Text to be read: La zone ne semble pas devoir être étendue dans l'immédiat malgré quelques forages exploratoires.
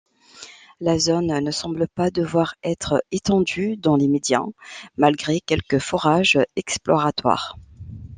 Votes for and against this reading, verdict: 2, 0, accepted